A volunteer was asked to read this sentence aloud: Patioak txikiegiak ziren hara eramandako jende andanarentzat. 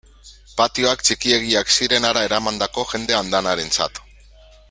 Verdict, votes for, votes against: accepted, 3, 1